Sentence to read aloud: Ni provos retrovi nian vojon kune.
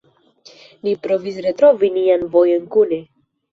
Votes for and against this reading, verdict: 0, 2, rejected